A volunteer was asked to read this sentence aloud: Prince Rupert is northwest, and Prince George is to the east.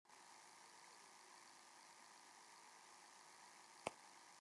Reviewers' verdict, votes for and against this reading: rejected, 0, 2